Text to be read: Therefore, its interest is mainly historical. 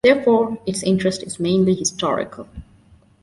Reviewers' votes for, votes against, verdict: 2, 0, accepted